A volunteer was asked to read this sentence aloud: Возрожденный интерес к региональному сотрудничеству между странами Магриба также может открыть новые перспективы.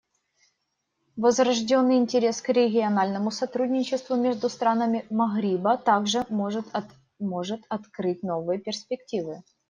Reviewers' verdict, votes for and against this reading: rejected, 1, 2